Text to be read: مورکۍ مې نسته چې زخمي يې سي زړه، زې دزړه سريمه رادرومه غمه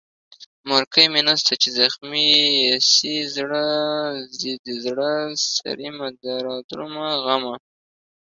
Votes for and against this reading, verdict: 0, 2, rejected